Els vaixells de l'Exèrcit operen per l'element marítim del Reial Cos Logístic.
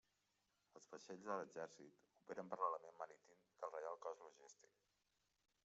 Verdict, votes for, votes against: accepted, 2, 1